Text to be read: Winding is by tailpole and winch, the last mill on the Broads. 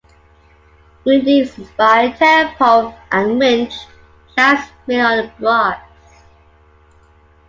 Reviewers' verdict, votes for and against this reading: rejected, 1, 2